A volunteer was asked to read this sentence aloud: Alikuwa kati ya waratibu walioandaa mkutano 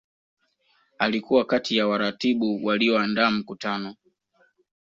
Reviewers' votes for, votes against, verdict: 2, 0, accepted